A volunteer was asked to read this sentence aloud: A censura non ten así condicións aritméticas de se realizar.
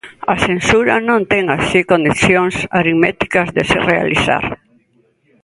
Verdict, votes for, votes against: accepted, 2, 0